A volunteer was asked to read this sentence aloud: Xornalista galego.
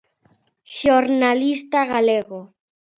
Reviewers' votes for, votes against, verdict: 2, 0, accepted